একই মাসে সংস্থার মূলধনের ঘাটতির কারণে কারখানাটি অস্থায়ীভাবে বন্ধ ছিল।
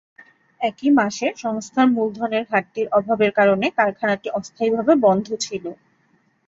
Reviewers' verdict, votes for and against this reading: rejected, 2, 5